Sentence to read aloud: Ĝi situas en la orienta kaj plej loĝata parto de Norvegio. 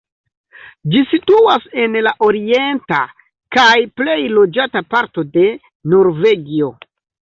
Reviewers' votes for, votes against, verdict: 2, 0, accepted